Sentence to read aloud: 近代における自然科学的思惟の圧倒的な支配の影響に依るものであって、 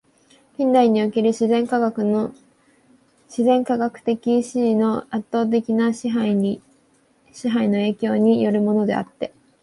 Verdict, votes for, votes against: rejected, 0, 2